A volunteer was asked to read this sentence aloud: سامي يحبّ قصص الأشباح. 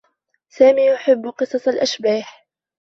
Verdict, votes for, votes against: accepted, 2, 0